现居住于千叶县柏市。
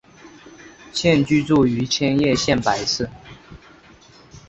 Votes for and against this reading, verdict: 5, 0, accepted